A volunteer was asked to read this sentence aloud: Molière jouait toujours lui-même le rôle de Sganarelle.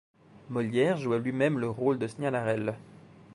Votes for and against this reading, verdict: 1, 2, rejected